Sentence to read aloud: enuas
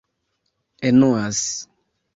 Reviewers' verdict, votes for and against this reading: rejected, 0, 2